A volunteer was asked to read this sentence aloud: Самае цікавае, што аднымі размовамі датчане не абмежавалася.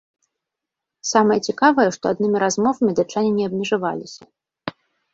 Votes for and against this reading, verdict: 3, 0, accepted